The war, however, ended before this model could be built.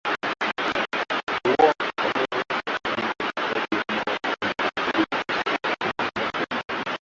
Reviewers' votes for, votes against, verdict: 0, 2, rejected